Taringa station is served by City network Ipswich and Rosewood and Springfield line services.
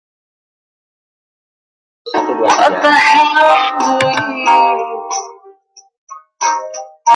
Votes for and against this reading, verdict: 0, 2, rejected